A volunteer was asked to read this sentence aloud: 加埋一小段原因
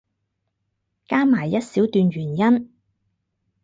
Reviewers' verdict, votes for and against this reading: accepted, 4, 0